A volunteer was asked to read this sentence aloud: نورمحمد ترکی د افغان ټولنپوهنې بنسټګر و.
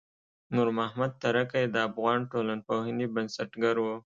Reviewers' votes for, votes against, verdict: 3, 0, accepted